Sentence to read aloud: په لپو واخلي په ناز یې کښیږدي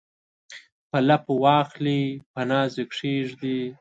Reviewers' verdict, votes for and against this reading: accepted, 2, 0